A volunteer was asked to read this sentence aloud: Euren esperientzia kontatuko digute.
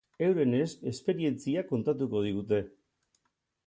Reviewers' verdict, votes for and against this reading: rejected, 2, 8